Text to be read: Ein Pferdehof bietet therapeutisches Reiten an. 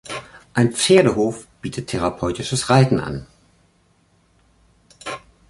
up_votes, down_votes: 3, 0